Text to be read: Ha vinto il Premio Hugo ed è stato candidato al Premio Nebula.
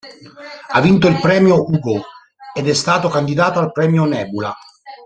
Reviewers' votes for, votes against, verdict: 2, 3, rejected